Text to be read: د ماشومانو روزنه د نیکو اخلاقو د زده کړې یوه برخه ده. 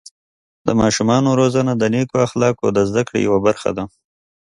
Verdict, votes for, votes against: accepted, 2, 0